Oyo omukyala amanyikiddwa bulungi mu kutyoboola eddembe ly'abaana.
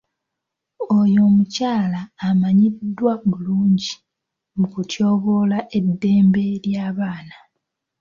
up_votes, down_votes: 1, 2